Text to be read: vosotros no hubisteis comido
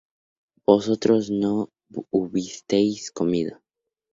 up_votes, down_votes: 0, 2